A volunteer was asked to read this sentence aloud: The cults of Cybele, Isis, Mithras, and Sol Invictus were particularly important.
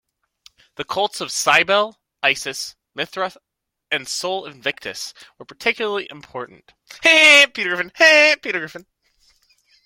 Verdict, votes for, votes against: accepted, 2, 1